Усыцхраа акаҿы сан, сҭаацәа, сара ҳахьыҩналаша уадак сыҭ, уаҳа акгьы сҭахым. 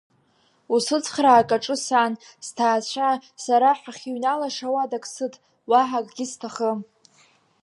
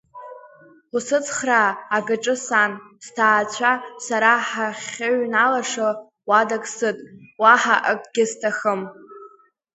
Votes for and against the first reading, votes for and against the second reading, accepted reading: 2, 0, 0, 2, first